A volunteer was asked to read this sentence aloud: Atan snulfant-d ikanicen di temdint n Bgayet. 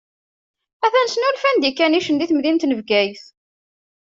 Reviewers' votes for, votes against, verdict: 2, 1, accepted